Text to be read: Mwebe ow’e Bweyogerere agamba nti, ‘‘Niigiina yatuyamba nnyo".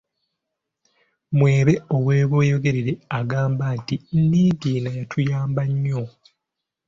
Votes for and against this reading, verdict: 2, 1, accepted